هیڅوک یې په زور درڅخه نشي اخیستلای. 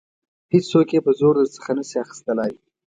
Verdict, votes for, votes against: accepted, 2, 0